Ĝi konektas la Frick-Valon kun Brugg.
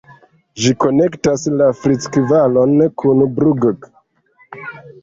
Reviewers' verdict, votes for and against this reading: accepted, 2, 0